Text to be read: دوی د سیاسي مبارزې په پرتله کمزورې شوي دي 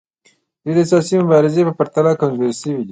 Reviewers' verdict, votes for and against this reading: accepted, 2, 1